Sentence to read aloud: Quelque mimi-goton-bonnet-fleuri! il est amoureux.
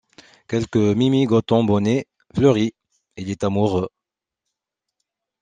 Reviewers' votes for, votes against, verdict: 2, 0, accepted